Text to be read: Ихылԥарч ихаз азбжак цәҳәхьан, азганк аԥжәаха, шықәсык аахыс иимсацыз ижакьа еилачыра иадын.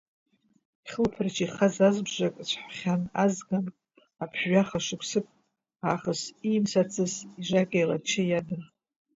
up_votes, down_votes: 0, 2